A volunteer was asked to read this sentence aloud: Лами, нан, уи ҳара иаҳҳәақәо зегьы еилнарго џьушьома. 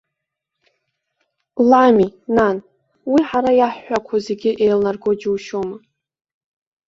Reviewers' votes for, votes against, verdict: 2, 1, accepted